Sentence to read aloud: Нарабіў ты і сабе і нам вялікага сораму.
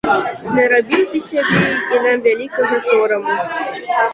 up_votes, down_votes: 0, 2